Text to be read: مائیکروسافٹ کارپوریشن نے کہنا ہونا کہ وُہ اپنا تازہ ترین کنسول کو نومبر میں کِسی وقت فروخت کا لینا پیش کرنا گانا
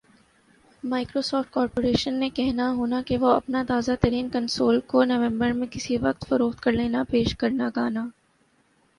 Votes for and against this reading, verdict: 7, 0, accepted